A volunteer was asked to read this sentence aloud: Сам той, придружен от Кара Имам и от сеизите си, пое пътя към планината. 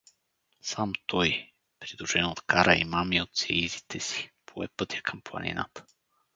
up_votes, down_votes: 2, 2